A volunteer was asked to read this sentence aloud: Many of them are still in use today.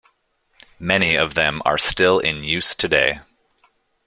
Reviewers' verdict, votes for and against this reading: accepted, 2, 0